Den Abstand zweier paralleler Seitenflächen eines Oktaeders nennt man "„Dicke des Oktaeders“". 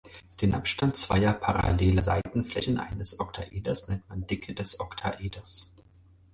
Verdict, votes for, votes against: accepted, 4, 0